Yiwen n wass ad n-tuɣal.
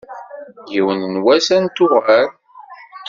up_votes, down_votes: 2, 0